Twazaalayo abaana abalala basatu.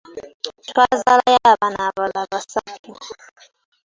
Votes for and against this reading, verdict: 2, 1, accepted